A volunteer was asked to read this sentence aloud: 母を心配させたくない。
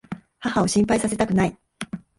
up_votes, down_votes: 1, 2